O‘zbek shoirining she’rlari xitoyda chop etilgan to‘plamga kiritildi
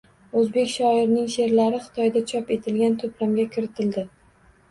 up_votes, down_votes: 2, 0